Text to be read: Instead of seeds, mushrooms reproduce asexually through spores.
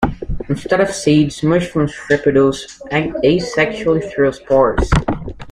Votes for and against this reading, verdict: 1, 2, rejected